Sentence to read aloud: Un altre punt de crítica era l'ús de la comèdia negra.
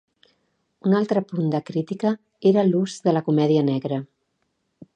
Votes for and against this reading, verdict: 2, 0, accepted